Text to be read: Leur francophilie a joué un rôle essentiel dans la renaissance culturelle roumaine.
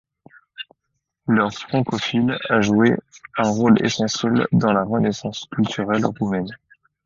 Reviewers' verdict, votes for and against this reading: rejected, 1, 2